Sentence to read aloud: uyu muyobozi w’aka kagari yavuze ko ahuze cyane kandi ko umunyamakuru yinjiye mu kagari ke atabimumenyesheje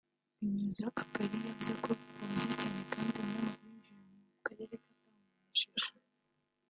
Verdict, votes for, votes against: rejected, 0, 2